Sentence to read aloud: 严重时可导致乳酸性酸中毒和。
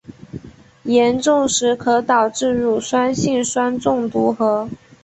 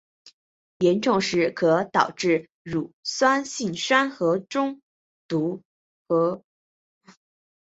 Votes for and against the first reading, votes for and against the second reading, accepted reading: 3, 0, 0, 2, first